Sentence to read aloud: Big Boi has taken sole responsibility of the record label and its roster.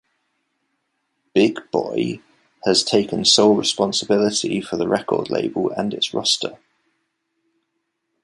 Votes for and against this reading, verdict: 1, 2, rejected